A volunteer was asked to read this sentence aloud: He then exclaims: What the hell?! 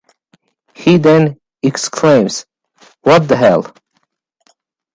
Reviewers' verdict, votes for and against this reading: accepted, 2, 0